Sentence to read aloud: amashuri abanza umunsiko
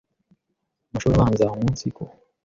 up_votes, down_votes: 2, 0